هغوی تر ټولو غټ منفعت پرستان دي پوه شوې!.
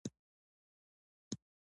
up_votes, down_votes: 0, 2